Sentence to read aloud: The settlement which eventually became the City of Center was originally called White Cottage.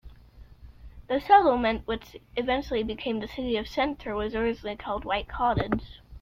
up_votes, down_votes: 2, 0